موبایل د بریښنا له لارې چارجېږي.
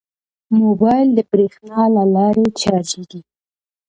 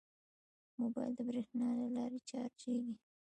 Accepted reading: first